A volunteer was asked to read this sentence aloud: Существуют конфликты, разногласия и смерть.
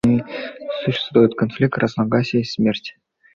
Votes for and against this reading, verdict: 2, 0, accepted